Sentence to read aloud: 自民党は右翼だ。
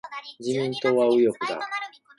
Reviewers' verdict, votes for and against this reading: accepted, 2, 0